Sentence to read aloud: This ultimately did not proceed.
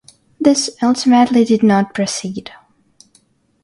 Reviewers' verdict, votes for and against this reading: accepted, 3, 0